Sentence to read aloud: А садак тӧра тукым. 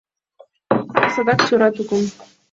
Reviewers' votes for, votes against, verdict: 1, 5, rejected